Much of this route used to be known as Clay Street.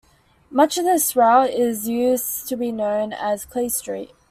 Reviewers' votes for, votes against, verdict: 0, 2, rejected